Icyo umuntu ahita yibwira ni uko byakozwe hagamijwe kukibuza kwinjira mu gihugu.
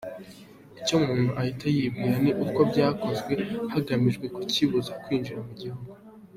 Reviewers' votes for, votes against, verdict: 2, 0, accepted